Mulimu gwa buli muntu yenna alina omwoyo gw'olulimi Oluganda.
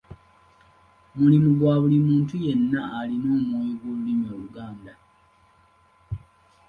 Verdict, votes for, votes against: accepted, 2, 0